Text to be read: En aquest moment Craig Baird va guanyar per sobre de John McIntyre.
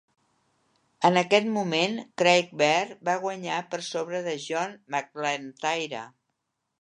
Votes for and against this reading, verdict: 1, 2, rejected